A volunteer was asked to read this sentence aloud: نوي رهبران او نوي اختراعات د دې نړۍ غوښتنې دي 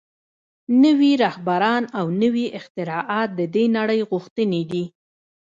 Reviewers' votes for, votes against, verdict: 0, 2, rejected